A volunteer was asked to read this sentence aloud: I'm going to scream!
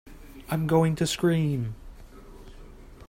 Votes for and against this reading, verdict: 3, 0, accepted